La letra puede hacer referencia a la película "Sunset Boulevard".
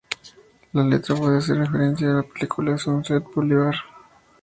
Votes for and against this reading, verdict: 2, 0, accepted